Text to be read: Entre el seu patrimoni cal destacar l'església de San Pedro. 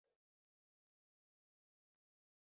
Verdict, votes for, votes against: rejected, 0, 2